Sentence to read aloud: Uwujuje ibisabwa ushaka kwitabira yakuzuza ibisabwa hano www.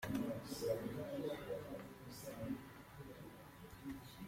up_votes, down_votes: 0, 2